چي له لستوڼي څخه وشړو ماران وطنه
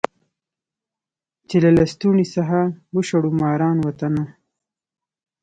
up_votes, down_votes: 2, 0